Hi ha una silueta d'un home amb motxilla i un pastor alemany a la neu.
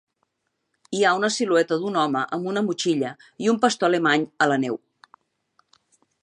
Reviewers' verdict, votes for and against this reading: rejected, 1, 2